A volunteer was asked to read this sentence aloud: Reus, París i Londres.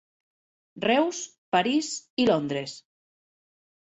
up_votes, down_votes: 2, 0